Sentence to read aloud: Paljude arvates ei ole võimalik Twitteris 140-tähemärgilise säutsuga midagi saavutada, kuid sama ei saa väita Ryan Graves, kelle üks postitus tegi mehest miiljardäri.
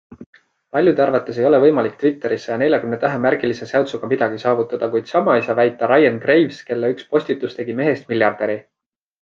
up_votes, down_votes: 0, 2